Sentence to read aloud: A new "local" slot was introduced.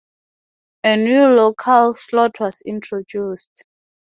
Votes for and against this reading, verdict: 2, 2, rejected